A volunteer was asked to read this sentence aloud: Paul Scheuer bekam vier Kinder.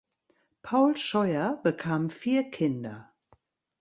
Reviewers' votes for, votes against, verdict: 2, 0, accepted